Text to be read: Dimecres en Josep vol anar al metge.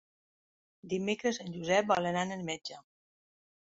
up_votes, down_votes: 2, 1